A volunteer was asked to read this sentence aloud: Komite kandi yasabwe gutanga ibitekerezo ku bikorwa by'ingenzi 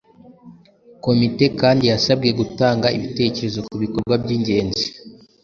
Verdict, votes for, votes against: accepted, 2, 0